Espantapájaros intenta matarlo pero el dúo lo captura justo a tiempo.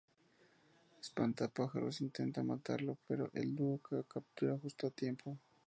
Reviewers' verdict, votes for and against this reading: accepted, 2, 0